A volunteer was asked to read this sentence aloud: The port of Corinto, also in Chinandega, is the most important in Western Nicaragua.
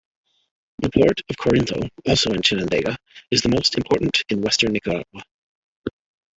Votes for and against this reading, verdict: 0, 2, rejected